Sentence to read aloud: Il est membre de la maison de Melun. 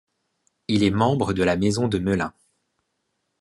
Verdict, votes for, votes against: accepted, 2, 0